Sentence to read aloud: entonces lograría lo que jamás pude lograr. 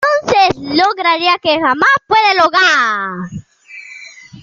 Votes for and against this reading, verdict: 0, 2, rejected